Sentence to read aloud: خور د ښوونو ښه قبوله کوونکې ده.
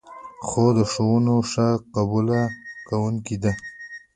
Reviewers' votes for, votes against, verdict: 2, 1, accepted